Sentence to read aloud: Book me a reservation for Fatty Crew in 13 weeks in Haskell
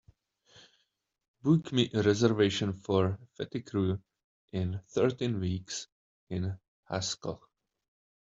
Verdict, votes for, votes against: rejected, 0, 2